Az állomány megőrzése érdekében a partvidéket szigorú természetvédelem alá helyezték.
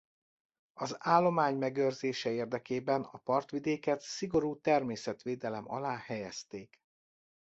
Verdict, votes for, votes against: accepted, 2, 0